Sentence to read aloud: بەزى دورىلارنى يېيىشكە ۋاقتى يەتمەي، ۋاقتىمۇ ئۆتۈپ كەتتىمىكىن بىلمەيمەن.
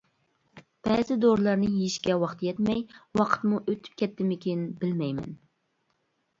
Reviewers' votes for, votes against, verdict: 0, 2, rejected